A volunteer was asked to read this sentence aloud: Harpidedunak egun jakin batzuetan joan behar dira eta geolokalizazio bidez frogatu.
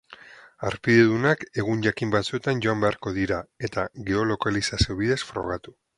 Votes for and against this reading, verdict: 0, 2, rejected